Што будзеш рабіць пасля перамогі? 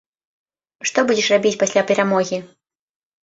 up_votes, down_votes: 2, 0